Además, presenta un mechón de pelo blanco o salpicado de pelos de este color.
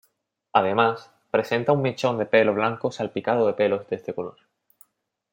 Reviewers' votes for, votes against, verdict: 1, 2, rejected